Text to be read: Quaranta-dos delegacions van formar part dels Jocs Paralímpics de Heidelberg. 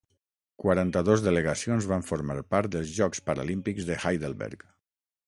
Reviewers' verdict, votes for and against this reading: accepted, 6, 0